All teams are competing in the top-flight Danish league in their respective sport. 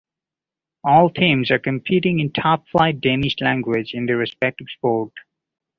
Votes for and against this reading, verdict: 0, 2, rejected